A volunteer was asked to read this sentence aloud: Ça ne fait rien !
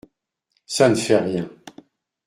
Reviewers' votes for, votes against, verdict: 2, 0, accepted